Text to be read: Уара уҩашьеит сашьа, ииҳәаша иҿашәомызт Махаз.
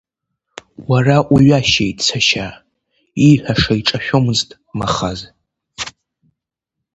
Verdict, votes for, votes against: accepted, 2, 0